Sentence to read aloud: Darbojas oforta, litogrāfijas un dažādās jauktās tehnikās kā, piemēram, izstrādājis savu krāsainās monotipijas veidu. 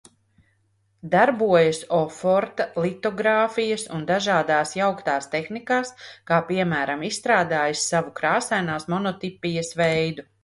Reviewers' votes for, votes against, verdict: 2, 0, accepted